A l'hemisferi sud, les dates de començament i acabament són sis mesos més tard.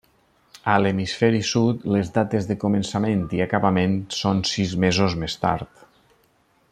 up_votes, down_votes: 3, 0